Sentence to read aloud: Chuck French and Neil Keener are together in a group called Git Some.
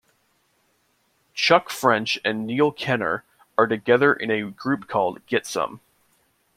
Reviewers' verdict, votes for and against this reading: rejected, 1, 2